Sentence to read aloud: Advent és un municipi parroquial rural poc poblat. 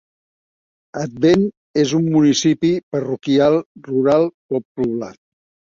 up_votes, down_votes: 2, 0